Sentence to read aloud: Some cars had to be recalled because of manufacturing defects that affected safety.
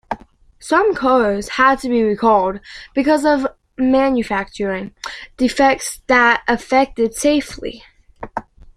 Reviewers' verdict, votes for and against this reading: rejected, 0, 2